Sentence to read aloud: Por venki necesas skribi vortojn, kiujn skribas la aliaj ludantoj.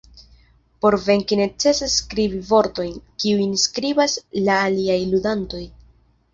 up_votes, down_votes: 0, 2